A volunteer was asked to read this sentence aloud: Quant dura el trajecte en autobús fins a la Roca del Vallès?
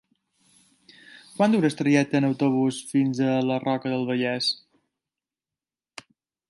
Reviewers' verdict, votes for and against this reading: rejected, 0, 2